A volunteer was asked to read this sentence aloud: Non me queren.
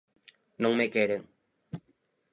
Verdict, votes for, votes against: rejected, 2, 2